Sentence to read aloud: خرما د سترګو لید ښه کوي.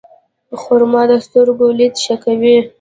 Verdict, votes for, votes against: rejected, 1, 2